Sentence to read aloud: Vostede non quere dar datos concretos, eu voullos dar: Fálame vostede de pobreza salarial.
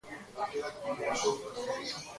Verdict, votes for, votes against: rejected, 1, 2